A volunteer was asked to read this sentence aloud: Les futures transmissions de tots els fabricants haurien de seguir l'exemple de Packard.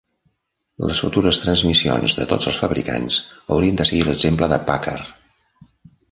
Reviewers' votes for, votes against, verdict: 2, 0, accepted